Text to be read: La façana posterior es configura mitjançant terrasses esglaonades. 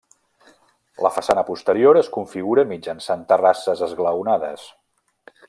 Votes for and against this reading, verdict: 3, 0, accepted